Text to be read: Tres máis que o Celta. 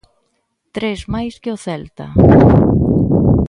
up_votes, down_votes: 0, 2